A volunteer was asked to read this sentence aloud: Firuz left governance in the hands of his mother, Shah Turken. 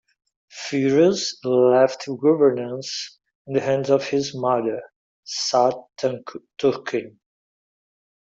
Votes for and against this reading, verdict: 1, 2, rejected